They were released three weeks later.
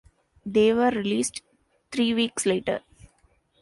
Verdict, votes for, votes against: accepted, 2, 0